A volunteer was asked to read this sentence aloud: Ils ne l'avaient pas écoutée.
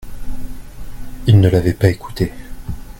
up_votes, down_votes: 2, 0